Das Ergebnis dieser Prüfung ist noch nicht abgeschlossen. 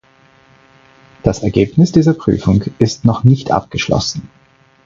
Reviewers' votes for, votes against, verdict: 4, 0, accepted